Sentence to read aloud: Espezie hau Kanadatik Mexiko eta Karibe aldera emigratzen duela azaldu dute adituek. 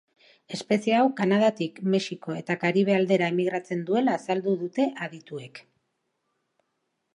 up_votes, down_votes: 2, 0